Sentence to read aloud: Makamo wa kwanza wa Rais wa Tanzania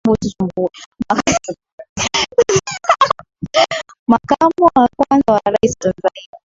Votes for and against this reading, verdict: 0, 4, rejected